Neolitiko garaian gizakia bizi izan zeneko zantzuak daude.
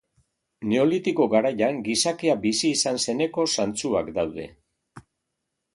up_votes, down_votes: 2, 0